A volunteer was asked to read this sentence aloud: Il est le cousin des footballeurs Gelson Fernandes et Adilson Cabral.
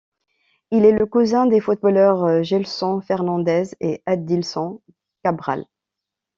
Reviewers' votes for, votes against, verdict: 2, 1, accepted